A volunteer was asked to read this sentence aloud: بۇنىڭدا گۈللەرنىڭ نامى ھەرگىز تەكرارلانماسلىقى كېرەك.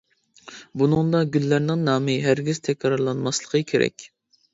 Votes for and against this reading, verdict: 2, 0, accepted